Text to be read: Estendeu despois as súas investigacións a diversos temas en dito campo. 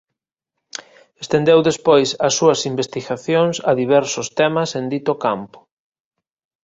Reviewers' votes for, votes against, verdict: 2, 0, accepted